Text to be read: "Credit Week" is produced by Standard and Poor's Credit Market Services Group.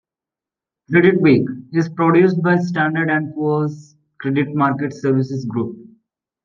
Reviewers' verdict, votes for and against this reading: accepted, 2, 0